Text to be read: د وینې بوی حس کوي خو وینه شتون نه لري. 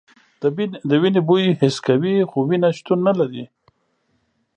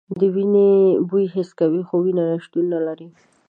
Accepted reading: second